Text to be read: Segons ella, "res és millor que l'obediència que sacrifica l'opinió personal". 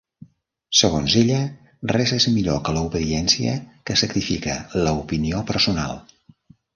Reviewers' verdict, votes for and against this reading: rejected, 0, 2